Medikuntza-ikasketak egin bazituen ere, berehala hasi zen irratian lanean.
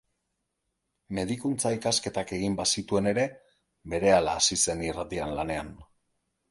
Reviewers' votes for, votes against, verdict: 2, 0, accepted